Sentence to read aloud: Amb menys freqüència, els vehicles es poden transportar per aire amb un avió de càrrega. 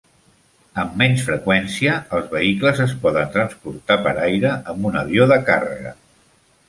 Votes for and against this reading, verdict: 3, 0, accepted